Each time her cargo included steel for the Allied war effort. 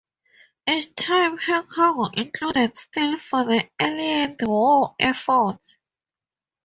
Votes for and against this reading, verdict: 2, 0, accepted